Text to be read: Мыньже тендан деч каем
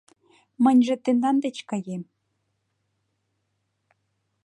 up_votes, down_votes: 2, 0